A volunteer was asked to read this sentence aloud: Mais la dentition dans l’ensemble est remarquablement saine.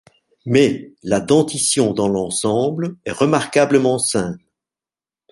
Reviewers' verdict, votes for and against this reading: rejected, 1, 2